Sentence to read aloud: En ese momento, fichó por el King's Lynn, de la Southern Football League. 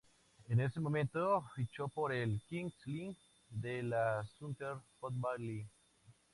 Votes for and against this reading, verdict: 2, 0, accepted